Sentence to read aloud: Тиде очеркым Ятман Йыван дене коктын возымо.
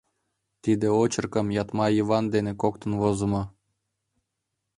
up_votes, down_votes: 2, 1